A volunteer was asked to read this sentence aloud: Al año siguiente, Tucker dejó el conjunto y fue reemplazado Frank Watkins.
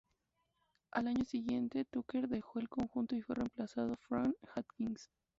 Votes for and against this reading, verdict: 0, 2, rejected